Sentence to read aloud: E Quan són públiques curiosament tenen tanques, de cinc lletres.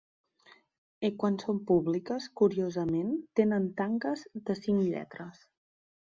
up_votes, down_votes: 2, 0